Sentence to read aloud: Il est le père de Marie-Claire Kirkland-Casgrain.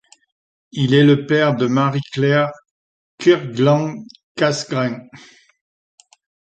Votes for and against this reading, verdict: 1, 2, rejected